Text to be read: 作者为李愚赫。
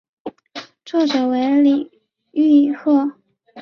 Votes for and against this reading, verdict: 1, 2, rejected